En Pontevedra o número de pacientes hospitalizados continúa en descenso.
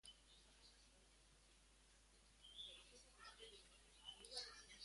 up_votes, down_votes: 0, 4